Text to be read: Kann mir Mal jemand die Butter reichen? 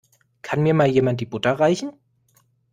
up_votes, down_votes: 1, 2